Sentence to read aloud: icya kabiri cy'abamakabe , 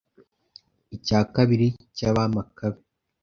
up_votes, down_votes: 2, 0